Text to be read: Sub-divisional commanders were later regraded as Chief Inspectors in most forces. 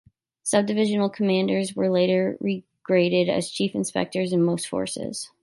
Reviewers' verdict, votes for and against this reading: accepted, 3, 0